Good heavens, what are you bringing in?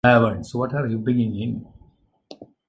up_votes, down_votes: 0, 2